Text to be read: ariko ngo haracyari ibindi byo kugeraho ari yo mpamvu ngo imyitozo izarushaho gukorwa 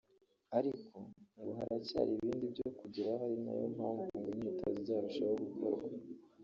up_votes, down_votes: 0, 2